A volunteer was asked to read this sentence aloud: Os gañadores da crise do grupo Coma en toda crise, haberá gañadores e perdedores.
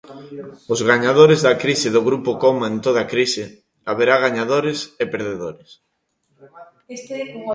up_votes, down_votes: 2, 1